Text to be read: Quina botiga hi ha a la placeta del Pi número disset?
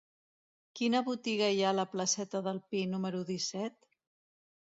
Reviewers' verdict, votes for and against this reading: accepted, 2, 0